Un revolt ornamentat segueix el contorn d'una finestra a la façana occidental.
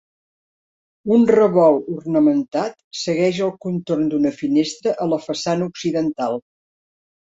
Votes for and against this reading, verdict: 3, 0, accepted